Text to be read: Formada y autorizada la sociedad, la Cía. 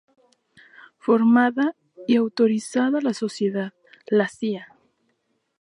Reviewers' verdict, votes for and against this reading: accepted, 2, 0